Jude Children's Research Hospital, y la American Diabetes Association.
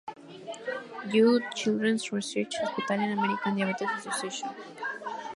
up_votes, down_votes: 2, 0